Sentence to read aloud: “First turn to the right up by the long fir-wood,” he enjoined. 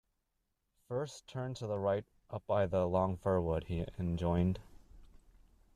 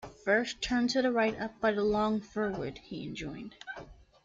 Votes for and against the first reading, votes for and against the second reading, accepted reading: 0, 2, 2, 0, second